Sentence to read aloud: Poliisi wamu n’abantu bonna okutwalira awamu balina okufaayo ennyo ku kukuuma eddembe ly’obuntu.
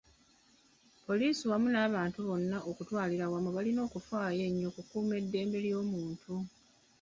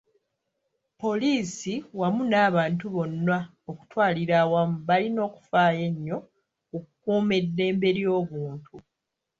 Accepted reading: first